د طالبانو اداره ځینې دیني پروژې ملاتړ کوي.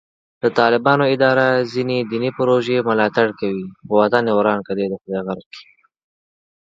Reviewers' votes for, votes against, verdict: 0, 4, rejected